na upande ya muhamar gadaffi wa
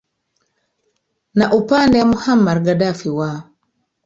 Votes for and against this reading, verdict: 1, 2, rejected